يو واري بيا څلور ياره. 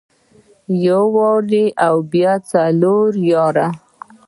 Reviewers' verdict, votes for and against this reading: rejected, 1, 2